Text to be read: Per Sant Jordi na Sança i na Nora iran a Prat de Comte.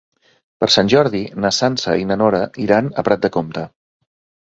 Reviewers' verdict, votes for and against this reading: accepted, 3, 0